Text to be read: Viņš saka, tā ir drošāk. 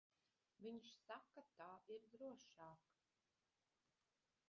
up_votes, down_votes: 1, 2